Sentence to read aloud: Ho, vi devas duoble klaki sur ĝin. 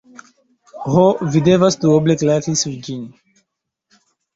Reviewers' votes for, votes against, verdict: 2, 0, accepted